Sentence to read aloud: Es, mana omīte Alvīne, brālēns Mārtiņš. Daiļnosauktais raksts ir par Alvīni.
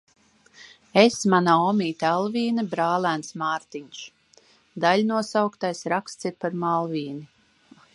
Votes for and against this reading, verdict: 1, 2, rejected